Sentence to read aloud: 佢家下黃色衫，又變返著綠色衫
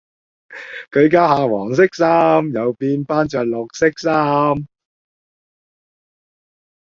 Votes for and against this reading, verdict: 2, 0, accepted